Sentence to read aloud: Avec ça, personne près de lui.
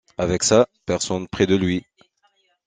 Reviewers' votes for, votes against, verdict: 2, 0, accepted